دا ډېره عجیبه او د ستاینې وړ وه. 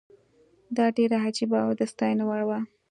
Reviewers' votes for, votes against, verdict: 2, 0, accepted